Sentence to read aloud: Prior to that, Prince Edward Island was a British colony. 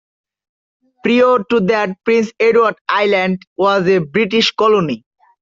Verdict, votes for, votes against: accepted, 2, 0